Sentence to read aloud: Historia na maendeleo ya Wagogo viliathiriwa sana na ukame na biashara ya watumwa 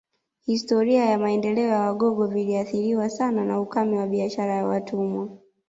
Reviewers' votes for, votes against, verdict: 1, 2, rejected